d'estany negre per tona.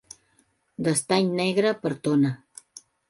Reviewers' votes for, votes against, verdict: 3, 0, accepted